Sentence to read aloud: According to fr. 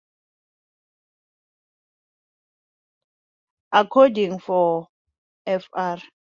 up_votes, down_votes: 0, 2